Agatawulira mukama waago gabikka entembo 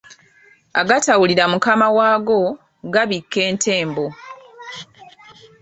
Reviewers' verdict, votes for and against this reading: accepted, 3, 0